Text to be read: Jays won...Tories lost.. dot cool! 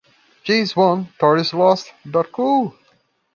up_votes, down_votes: 2, 0